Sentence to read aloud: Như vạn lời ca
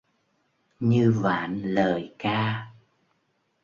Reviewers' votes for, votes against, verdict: 1, 2, rejected